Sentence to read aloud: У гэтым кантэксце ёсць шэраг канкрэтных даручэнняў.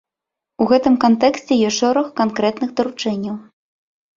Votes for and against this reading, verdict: 2, 0, accepted